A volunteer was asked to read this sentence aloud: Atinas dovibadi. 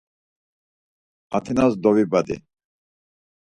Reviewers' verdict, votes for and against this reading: accepted, 4, 0